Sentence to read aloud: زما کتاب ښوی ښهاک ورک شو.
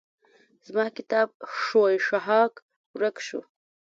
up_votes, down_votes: 2, 0